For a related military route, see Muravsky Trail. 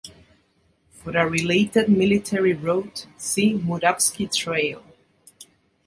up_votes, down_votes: 3, 2